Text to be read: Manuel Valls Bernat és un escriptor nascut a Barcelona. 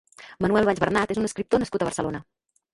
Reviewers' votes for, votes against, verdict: 2, 3, rejected